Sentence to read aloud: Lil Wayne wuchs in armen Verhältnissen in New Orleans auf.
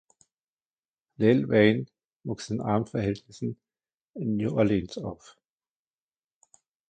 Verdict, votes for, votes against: rejected, 1, 2